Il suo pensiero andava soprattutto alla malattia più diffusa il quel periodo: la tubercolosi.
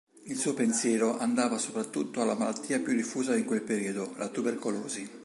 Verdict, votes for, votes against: accepted, 3, 0